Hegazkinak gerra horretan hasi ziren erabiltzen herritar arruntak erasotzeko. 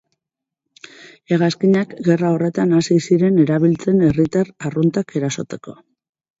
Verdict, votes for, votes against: rejected, 2, 6